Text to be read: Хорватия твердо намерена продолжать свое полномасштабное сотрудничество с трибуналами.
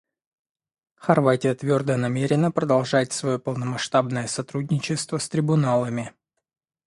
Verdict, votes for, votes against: accepted, 2, 0